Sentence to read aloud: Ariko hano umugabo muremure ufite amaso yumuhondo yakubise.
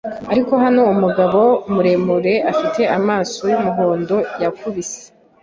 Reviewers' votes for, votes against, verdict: 0, 3, rejected